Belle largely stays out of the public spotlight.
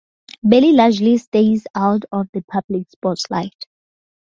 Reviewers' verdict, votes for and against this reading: accepted, 4, 0